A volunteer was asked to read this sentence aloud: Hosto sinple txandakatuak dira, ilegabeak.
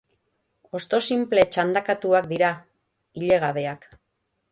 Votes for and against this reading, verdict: 3, 3, rejected